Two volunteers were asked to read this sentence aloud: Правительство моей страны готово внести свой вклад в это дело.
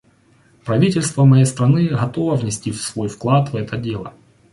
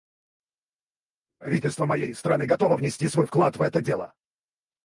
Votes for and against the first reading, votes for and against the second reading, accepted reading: 2, 0, 0, 4, first